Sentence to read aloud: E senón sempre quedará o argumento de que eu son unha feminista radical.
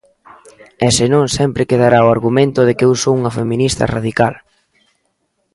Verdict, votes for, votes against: accepted, 2, 0